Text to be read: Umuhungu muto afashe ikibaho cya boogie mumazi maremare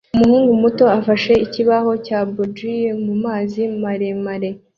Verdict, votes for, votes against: accepted, 2, 0